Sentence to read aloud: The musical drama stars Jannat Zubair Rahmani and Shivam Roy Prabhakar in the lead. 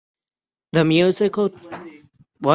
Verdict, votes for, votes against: rejected, 0, 6